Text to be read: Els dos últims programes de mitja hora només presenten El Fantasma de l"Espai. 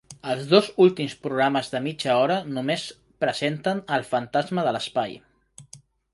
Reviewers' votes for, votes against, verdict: 2, 1, accepted